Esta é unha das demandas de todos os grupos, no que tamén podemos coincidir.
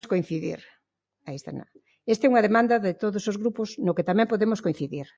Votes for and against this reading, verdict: 0, 2, rejected